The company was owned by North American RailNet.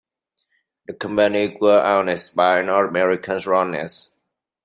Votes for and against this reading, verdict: 0, 2, rejected